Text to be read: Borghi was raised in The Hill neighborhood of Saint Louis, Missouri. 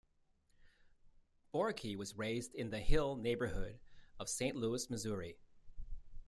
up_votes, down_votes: 2, 0